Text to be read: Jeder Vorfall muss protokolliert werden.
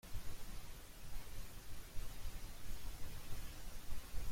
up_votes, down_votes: 0, 2